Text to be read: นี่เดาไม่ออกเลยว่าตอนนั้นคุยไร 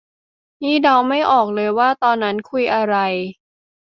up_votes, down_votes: 0, 2